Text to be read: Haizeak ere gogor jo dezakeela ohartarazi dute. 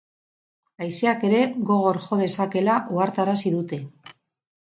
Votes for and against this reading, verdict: 8, 0, accepted